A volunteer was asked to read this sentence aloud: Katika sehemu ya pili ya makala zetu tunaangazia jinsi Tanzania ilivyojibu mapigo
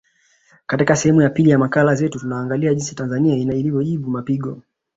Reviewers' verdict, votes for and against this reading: rejected, 0, 2